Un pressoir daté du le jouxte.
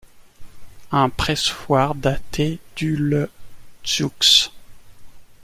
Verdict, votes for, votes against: accepted, 2, 0